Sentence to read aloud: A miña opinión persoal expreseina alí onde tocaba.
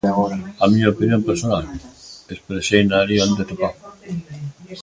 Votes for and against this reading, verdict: 0, 2, rejected